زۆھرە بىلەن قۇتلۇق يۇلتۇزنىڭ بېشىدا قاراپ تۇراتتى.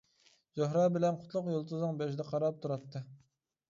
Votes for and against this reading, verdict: 2, 1, accepted